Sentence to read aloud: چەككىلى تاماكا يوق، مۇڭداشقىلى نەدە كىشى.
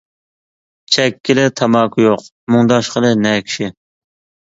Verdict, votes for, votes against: rejected, 1, 2